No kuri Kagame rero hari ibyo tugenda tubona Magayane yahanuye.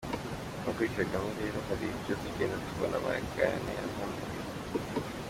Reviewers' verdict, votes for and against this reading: accepted, 2, 1